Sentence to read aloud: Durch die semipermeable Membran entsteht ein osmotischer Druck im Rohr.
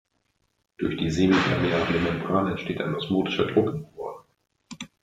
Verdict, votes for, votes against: rejected, 1, 2